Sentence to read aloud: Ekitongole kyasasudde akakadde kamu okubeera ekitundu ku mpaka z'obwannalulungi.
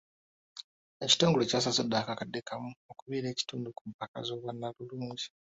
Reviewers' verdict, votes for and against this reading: accepted, 2, 0